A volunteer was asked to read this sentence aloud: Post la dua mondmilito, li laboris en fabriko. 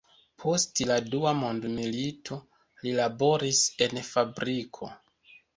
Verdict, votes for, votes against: accepted, 2, 0